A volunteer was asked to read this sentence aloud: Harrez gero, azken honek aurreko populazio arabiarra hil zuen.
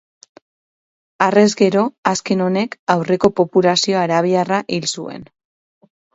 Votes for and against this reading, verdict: 4, 2, accepted